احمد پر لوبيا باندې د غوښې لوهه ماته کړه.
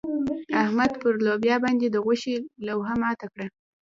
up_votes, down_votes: 1, 2